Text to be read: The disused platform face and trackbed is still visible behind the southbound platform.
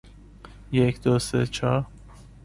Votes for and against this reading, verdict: 0, 2, rejected